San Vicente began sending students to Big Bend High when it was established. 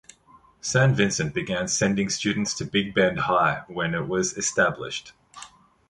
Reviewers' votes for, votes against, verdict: 1, 2, rejected